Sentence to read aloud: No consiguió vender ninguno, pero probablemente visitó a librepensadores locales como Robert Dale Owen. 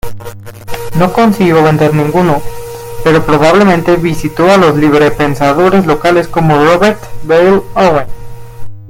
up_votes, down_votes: 0, 2